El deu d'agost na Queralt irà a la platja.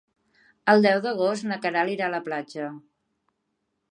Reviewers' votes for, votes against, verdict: 3, 0, accepted